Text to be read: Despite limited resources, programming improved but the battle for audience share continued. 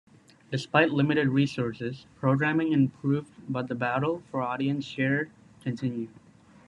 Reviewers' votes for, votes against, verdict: 2, 0, accepted